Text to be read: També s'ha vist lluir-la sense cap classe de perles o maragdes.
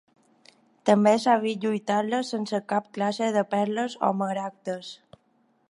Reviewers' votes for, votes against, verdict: 1, 2, rejected